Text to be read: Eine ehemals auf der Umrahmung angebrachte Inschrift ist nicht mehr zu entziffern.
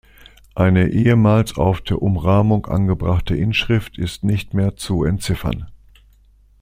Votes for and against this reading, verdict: 2, 0, accepted